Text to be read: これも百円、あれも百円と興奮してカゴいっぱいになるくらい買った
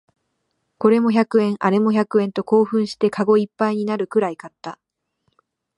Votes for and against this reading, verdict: 2, 0, accepted